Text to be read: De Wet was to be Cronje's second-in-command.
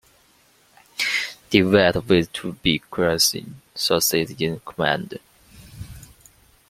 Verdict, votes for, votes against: rejected, 0, 2